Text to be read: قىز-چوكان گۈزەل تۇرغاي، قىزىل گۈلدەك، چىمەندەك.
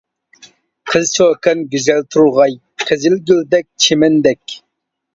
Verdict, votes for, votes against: accepted, 2, 0